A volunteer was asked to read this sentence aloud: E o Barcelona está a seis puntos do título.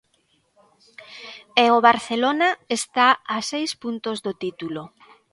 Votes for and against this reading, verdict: 2, 0, accepted